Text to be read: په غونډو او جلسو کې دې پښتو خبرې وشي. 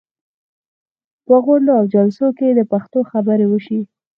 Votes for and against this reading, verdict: 4, 0, accepted